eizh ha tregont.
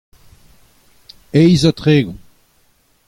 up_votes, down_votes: 2, 0